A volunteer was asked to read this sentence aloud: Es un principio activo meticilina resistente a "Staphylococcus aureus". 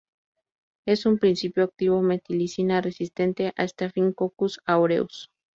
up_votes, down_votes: 0, 2